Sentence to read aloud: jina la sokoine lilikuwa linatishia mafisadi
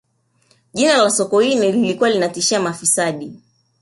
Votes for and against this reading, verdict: 1, 2, rejected